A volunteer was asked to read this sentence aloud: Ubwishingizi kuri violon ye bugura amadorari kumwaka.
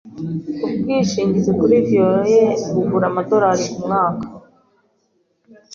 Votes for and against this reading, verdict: 2, 0, accepted